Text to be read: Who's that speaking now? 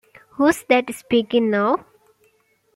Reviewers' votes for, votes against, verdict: 2, 0, accepted